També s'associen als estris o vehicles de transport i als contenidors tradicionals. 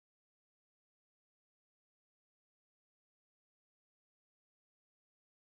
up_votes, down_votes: 0, 2